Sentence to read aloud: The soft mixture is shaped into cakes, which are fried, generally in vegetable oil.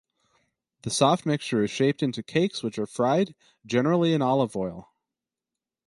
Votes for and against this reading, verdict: 0, 2, rejected